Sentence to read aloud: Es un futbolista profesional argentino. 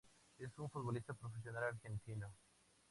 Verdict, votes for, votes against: accepted, 2, 0